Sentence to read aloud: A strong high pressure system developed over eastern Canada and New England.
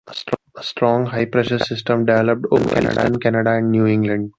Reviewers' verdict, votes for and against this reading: rejected, 0, 2